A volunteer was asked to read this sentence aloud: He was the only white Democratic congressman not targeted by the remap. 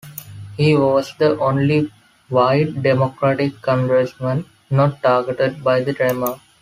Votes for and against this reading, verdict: 1, 3, rejected